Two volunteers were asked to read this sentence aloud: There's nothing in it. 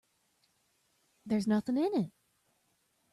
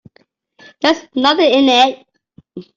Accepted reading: first